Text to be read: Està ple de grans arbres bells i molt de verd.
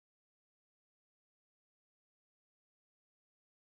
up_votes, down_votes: 0, 2